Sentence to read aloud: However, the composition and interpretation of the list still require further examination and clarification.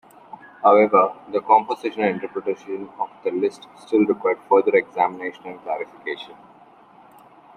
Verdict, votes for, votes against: rejected, 1, 2